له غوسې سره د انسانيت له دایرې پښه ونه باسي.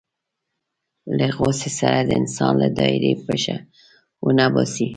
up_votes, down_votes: 2, 1